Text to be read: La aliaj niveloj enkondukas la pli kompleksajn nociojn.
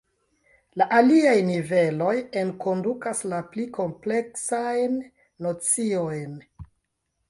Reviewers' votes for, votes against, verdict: 0, 2, rejected